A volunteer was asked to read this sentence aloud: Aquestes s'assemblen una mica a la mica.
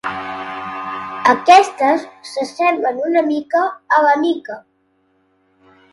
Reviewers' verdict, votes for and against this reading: accepted, 5, 2